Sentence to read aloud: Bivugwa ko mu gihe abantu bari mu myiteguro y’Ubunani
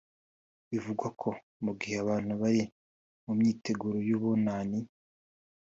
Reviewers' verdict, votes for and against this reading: accepted, 2, 0